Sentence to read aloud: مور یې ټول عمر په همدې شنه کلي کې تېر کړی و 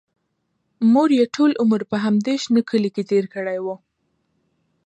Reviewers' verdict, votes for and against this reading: accepted, 2, 0